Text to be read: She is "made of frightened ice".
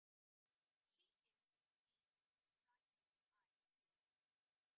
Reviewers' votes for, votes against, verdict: 0, 2, rejected